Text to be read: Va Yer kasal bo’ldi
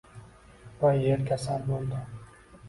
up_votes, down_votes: 1, 2